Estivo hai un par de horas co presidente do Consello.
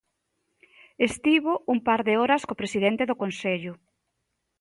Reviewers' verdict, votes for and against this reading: rejected, 0, 2